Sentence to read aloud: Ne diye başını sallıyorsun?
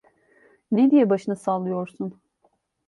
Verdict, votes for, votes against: accepted, 2, 0